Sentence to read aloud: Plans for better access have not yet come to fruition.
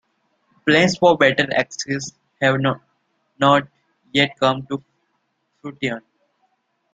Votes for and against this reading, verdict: 1, 2, rejected